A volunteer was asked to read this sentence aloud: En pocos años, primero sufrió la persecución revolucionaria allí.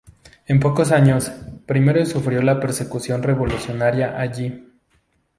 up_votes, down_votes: 2, 0